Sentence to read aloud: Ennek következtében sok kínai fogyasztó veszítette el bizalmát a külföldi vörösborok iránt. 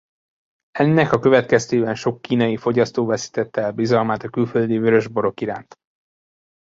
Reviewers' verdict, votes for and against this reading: rejected, 0, 2